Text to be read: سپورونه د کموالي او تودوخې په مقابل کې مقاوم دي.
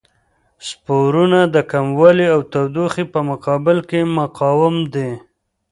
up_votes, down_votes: 2, 0